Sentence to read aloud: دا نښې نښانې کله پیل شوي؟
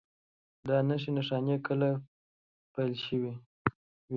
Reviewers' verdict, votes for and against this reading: accepted, 2, 0